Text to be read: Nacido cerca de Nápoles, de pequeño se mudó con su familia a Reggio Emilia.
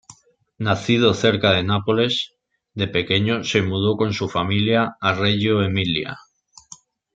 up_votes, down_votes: 2, 0